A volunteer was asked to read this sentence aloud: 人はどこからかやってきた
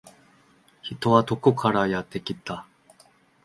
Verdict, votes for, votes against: accepted, 2, 1